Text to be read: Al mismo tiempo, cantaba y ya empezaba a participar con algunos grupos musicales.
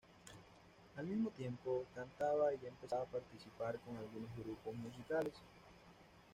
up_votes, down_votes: 1, 2